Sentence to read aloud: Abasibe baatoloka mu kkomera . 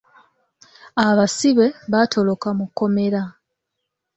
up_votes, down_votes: 2, 1